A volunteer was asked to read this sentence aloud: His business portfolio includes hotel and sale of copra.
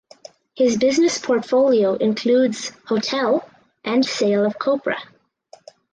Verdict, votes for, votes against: accepted, 6, 0